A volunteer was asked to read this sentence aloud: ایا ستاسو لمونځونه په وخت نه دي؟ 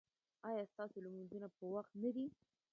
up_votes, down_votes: 0, 2